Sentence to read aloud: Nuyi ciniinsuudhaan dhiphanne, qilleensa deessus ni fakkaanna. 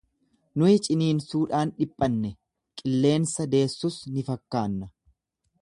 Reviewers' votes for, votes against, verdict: 2, 0, accepted